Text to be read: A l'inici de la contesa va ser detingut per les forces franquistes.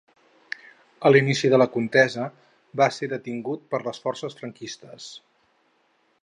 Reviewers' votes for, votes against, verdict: 2, 0, accepted